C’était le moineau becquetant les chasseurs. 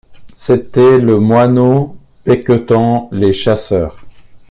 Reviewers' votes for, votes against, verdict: 2, 0, accepted